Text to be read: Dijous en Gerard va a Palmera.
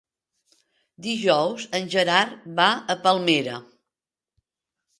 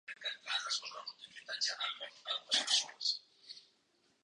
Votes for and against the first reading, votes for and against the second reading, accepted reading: 3, 0, 0, 2, first